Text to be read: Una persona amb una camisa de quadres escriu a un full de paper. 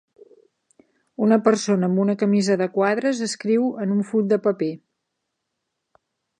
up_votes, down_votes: 2, 3